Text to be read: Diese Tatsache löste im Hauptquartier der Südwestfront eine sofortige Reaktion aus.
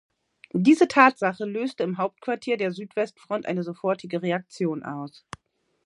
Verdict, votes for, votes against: accepted, 2, 0